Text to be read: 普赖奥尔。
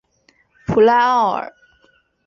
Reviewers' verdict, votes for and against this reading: accepted, 8, 0